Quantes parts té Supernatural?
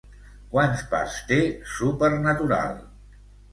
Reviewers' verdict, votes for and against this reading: rejected, 1, 2